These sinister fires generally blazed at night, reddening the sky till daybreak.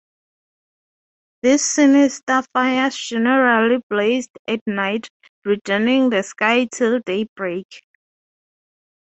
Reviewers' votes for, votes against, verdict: 3, 0, accepted